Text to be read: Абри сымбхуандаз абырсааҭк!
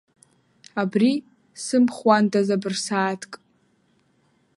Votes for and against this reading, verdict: 2, 0, accepted